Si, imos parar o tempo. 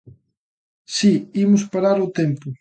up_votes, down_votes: 2, 0